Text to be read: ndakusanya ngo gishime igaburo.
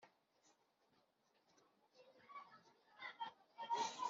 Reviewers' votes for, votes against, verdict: 0, 2, rejected